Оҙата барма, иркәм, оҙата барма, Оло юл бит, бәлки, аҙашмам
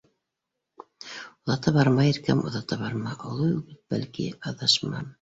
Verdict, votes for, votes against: rejected, 1, 2